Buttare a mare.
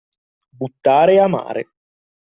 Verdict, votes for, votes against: accepted, 2, 0